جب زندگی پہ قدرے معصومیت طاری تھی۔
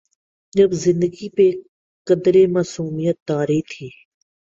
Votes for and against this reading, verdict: 2, 0, accepted